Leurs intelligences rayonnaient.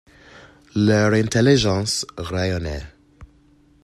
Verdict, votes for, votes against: rejected, 0, 2